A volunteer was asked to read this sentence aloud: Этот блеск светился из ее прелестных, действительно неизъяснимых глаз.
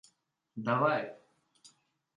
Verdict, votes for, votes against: rejected, 0, 2